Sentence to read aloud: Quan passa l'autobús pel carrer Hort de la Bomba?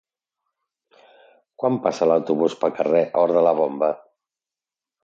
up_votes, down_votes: 2, 0